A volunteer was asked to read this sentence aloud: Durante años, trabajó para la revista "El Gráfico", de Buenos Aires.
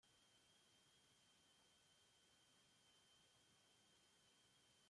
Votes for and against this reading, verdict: 0, 2, rejected